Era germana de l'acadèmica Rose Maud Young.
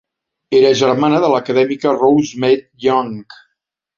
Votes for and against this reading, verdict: 0, 2, rejected